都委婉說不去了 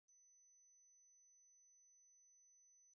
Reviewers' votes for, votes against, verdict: 0, 2, rejected